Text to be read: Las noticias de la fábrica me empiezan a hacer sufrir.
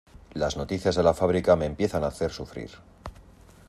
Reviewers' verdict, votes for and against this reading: accepted, 2, 0